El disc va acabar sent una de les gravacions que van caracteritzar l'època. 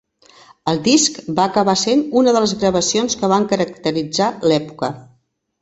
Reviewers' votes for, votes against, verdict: 3, 0, accepted